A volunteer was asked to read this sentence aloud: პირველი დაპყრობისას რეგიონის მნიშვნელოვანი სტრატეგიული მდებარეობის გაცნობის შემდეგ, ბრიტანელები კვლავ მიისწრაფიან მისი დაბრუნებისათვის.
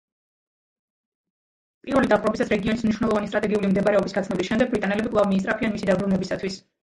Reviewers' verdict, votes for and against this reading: rejected, 1, 2